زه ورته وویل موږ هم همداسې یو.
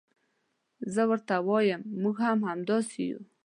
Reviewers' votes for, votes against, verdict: 0, 2, rejected